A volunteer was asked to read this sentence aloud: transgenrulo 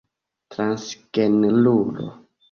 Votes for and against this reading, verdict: 1, 2, rejected